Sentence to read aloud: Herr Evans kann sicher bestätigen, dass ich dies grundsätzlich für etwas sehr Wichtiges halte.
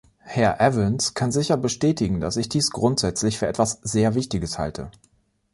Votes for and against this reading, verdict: 2, 0, accepted